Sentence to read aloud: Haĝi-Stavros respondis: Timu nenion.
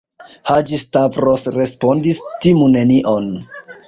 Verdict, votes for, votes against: rejected, 1, 2